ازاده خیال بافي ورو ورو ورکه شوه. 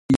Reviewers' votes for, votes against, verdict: 0, 2, rejected